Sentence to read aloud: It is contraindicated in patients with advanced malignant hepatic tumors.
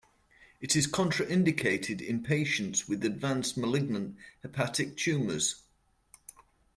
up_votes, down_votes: 2, 0